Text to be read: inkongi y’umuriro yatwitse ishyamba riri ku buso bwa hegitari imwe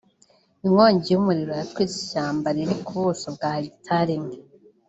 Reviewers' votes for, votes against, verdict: 0, 2, rejected